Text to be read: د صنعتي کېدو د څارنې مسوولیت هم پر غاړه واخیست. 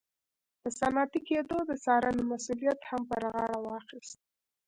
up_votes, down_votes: 1, 2